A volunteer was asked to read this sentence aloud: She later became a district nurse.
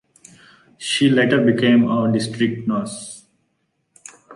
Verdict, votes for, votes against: accepted, 2, 1